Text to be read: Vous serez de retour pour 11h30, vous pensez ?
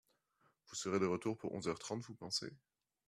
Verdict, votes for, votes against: rejected, 0, 2